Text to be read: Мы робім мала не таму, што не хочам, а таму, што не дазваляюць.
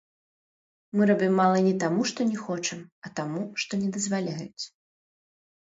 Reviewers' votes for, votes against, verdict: 1, 2, rejected